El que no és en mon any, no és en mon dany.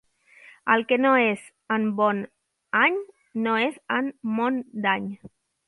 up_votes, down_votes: 1, 2